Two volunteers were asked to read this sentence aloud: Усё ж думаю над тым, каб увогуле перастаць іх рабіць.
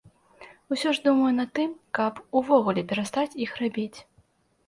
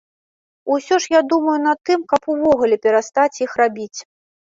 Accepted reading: first